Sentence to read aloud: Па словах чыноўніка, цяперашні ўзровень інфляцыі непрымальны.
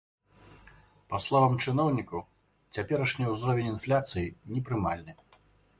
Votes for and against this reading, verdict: 1, 2, rejected